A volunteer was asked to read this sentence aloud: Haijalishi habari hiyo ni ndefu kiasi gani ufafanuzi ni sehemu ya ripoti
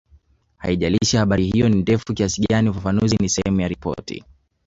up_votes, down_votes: 2, 0